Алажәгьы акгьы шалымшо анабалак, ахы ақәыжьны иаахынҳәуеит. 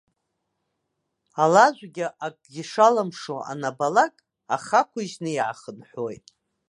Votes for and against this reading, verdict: 2, 0, accepted